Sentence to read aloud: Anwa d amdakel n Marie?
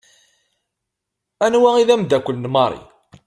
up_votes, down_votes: 2, 0